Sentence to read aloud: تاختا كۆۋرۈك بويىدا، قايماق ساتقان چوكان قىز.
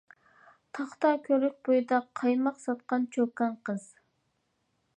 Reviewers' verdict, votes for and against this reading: accepted, 2, 0